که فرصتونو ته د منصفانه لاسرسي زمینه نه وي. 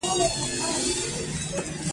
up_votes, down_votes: 2, 0